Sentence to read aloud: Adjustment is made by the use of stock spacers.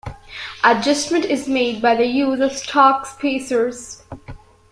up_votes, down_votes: 2, 1